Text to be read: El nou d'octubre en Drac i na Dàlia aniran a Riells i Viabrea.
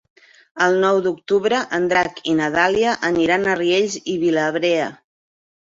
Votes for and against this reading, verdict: 1, 2, rejected